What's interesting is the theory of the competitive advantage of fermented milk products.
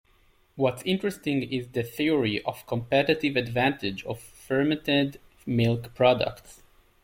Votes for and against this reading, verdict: 1, 2, rejected